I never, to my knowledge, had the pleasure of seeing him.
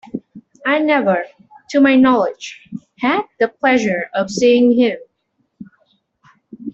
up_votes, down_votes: 2, 0